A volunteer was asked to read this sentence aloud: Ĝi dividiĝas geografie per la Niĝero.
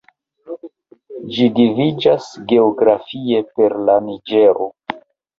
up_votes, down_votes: 1, 2